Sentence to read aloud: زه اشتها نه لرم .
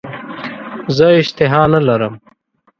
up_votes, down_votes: 2, 0